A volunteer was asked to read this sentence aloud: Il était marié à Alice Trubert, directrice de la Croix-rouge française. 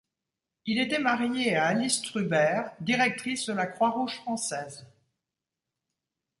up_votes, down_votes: 2, 0